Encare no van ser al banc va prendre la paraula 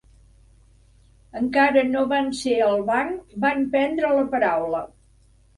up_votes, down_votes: 1, 2